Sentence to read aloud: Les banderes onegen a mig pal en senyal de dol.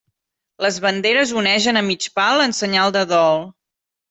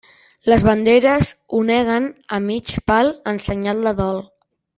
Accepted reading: first